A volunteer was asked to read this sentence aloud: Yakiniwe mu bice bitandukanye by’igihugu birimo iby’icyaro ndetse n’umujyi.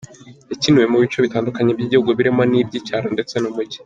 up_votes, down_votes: 2, 0